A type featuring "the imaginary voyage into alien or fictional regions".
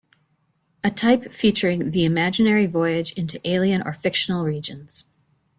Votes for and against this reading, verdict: 2, 0, accepted